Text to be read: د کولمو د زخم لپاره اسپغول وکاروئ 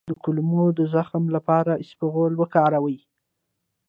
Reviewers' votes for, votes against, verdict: 1, 2, rejected